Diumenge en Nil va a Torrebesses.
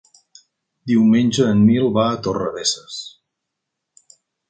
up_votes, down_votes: 3, 0